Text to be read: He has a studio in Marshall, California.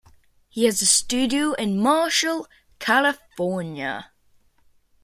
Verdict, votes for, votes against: accepted, 2, 0